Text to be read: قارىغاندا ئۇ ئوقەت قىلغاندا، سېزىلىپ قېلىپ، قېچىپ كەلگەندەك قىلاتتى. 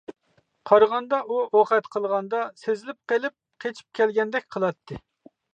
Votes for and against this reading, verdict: 2, 0, accepted